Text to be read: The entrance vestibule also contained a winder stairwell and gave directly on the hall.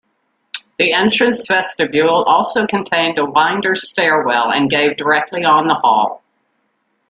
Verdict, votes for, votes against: accepted, 2, 0